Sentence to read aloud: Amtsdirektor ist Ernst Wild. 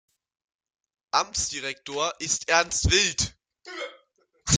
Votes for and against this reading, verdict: 0, 2, rejected